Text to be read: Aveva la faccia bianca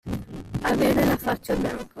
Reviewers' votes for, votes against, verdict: 2, 1, accepted